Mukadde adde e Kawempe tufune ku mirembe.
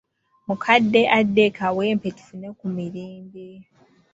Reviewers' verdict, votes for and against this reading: accepted, 2, 0